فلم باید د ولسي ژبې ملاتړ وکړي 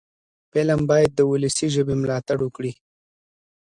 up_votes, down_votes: 2, 0